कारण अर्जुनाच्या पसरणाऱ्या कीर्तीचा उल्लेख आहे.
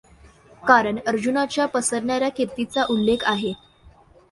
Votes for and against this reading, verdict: 2, 0, accepted